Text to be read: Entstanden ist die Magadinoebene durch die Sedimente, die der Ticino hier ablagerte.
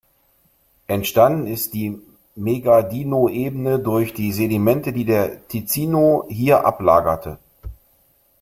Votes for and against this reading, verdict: 0, 2, rejected